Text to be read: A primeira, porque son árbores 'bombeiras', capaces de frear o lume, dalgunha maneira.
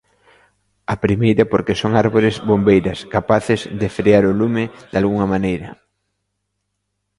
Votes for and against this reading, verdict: 2, 0, accepted